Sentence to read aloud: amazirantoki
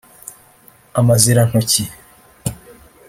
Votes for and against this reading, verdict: 1, 2, rejected